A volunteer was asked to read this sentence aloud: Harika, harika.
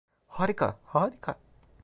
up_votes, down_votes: 0, 2